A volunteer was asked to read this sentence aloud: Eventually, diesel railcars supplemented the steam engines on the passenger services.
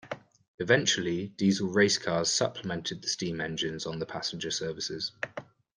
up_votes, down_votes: 0, 2